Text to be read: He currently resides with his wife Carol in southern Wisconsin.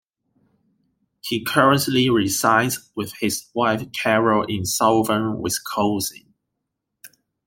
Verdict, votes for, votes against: rejected, 1, 2